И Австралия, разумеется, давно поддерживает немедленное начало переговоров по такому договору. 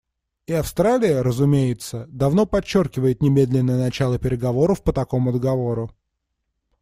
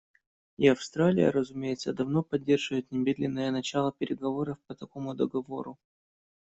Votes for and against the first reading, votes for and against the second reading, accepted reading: 0, 3, 2, 0, second